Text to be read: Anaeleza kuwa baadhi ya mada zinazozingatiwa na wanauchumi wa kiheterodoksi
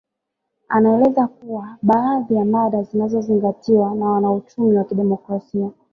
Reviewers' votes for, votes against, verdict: 2, 0, accepted